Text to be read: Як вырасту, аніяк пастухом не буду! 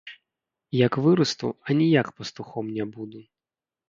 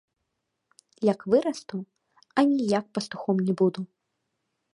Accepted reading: second